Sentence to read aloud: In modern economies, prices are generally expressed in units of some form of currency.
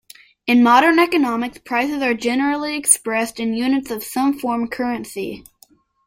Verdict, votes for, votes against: rejected, 1, 2